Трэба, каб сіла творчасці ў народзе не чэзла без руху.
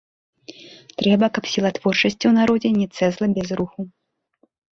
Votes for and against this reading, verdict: 1, 2, rejected